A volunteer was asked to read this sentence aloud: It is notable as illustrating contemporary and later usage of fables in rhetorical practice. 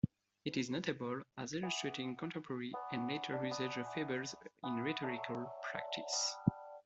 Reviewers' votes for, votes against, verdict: 2, 1, accepted